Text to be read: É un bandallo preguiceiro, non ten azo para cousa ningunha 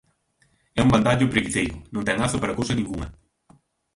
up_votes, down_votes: 0, 2